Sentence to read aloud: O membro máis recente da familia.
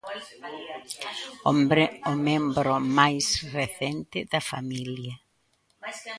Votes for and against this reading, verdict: 0, 2, rejected